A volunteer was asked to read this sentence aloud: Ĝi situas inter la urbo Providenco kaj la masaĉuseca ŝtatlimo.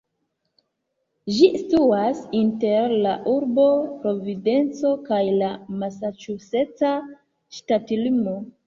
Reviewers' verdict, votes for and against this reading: rejected, 0, 2